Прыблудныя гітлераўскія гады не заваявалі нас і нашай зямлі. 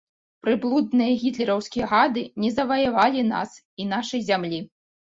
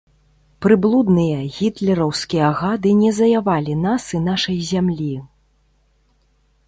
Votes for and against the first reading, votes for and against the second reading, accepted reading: 2, 0, 0, 2, first